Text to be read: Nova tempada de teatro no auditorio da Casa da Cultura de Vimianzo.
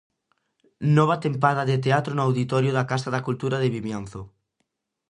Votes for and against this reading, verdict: 2, 0, accepted